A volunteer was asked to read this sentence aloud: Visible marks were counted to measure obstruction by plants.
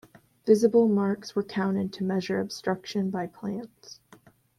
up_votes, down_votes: 2, 0